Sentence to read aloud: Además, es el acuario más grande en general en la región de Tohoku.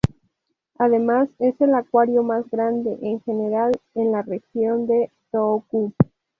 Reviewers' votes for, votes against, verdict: 0, 2, rejected